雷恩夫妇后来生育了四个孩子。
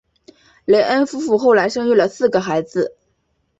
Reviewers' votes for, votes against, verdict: 2, 0, accepted